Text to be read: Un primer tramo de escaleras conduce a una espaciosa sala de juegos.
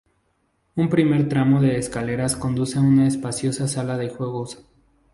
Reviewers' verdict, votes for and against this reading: rejected, 2, 2